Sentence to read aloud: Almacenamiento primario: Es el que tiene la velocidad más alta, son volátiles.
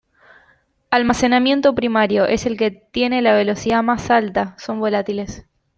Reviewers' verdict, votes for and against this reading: accepted, 2, 1